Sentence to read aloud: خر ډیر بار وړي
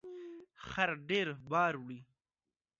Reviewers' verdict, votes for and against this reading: accepted, 2, 0